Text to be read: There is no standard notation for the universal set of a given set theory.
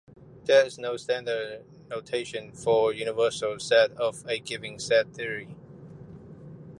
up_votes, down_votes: 2, 1